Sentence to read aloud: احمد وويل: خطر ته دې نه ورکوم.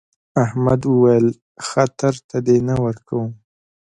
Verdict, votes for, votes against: accepted, 2, 1